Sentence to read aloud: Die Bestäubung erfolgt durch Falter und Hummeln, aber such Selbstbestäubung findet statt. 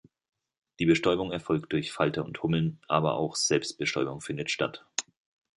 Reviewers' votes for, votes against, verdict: 1, 2, rejected